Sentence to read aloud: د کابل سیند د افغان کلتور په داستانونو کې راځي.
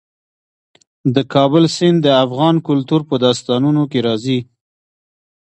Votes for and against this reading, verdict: 0, 2, rejected